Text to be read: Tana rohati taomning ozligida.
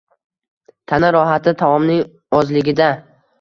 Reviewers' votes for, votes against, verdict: 2, 0, accepted